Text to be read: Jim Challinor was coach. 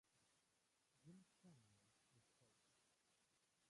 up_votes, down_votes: 0, 2